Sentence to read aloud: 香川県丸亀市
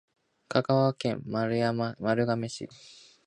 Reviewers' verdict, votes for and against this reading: rejected, 0, 3